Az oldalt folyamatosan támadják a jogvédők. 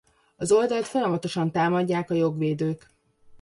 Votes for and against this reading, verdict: 2, 0, accepted